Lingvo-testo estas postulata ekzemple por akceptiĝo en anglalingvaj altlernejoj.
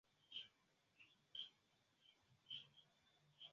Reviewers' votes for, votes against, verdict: 2, 0, accepted